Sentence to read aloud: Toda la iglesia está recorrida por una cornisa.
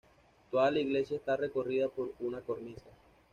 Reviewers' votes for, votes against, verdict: 2, 0, accepted